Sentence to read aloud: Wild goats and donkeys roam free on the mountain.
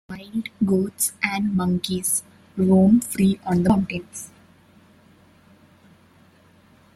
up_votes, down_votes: 0, 2